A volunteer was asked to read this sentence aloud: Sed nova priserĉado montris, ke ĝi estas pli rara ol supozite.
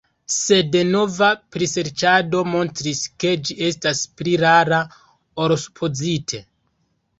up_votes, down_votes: 2, 1